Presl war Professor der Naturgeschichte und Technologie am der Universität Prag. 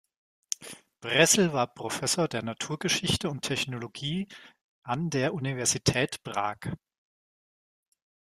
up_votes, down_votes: 1, 2